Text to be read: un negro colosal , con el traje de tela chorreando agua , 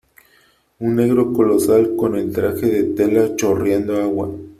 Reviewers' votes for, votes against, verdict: 3, 0, accepted